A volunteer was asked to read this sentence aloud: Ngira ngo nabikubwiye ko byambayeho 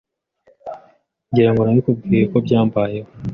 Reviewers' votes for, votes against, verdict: 3, 0, accepted